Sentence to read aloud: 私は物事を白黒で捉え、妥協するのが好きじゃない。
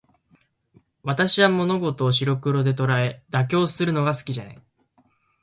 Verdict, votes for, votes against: accepted, 3, 1